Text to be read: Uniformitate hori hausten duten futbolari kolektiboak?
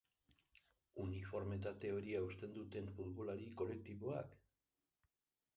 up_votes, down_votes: 0, 4